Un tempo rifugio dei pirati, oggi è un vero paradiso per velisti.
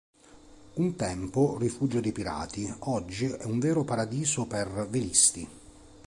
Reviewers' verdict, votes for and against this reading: accepted, 2, 0